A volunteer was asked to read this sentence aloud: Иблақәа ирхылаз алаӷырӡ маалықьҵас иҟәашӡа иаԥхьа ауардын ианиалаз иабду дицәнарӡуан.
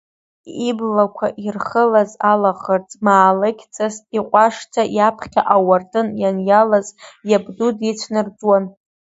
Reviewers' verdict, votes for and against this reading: accepted, 2, 0